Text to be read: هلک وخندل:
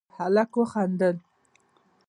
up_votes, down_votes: 2, 0